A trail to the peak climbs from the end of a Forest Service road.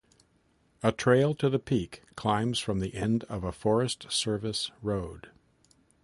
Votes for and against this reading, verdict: 0, 2, rejected